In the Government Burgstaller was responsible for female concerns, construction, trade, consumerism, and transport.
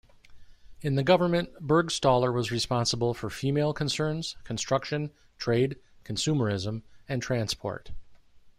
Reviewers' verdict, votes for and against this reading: accepted, 2, 0